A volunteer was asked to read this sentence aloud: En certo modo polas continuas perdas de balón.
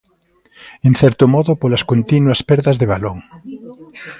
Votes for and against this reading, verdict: 3, 0, accepted